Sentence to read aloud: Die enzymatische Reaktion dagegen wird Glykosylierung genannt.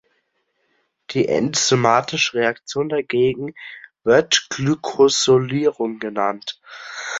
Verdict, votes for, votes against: rejected, 1, 3